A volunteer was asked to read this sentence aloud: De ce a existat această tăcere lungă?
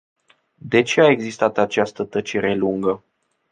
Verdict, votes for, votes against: accepted, 2, 0